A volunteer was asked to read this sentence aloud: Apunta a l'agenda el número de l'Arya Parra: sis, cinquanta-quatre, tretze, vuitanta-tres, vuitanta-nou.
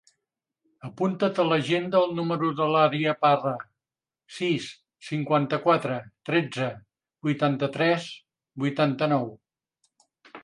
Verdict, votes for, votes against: rejected, 1, 2